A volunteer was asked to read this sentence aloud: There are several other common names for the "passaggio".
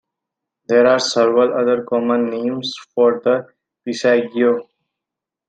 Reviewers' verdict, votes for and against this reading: accepted, 2, 0